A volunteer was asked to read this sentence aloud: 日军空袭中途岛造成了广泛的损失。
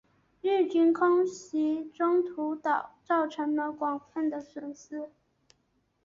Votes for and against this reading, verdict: 1, 2, rejected